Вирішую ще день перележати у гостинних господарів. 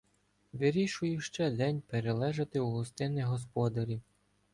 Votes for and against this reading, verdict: 2, 0, accepted